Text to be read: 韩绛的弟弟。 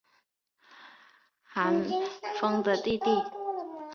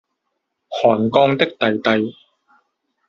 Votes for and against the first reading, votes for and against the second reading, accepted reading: 2, 1, 1, 2, first